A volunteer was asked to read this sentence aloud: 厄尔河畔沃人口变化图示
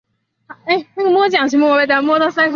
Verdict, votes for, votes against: rejected, 0, 2